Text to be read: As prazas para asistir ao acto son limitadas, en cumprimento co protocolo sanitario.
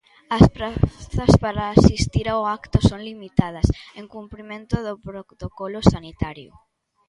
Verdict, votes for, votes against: rejected, 0, 2